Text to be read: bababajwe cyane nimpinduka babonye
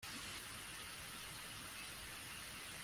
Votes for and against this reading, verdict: 0, 2, rejected